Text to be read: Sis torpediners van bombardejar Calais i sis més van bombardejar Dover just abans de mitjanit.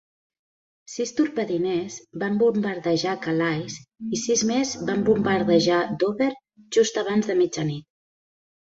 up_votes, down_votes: 0, 2